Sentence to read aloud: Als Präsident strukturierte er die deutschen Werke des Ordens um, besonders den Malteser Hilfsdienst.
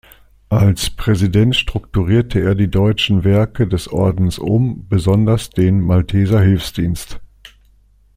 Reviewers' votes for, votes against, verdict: 2, 0, accepted